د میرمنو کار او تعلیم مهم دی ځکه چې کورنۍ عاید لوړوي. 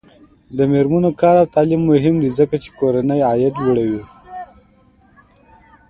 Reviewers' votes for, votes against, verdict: 2, 0, accepted